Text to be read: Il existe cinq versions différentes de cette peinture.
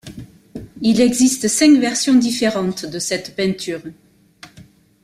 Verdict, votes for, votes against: accepted, 2, 0